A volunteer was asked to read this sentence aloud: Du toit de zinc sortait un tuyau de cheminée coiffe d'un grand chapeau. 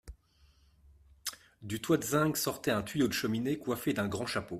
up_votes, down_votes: 2, 1